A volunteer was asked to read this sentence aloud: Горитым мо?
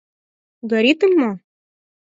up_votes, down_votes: 6, 0